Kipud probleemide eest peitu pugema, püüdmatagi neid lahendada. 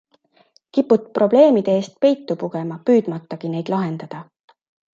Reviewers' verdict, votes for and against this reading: accepted, 2, 0